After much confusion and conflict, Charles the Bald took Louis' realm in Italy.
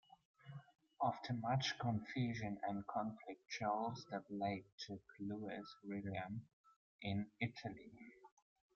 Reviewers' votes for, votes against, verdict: 0, 2, rejected